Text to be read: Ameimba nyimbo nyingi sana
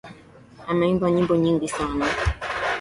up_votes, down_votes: 0, 2